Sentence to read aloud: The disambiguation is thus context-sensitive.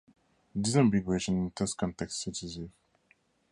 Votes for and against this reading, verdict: 2, 2, rejected